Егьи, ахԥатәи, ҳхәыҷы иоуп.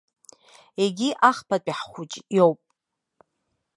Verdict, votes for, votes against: accepted, 2, 0